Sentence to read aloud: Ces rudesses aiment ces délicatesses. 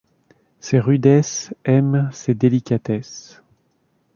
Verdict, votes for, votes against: accepted, 2, 0